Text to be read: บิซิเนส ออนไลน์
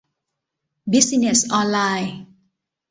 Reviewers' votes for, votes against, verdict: 2, 0, accepted